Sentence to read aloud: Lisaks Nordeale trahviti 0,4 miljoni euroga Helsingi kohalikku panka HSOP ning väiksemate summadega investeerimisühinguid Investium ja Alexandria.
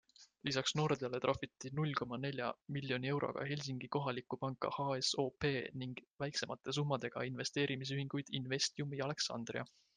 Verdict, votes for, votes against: rejected, 0, 2